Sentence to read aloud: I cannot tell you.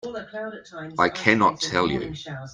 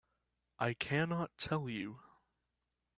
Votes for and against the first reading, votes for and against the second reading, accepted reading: 1, 2, 2, 0, second